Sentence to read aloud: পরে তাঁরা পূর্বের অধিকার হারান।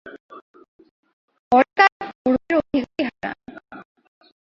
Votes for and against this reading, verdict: 0, 2, rejected